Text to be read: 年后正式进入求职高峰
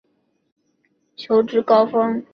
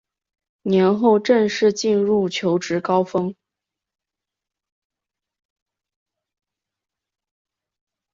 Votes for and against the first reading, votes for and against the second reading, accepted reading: 0, 3, 2, 1, second